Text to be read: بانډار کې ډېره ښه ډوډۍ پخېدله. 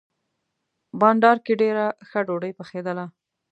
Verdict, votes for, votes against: accepted, 2, 0